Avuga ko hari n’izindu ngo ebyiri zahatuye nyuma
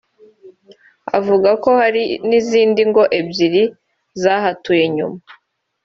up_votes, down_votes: 2, 1